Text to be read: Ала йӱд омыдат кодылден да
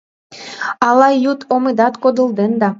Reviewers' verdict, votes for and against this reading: accepted, 2, 1